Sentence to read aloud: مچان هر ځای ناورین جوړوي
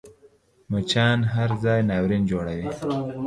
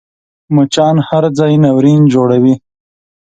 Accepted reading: second